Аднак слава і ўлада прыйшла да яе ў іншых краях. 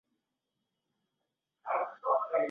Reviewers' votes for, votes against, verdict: 0, 2, rejected